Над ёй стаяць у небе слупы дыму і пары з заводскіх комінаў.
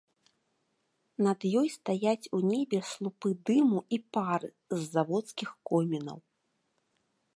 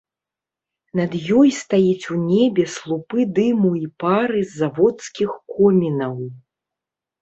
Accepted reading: first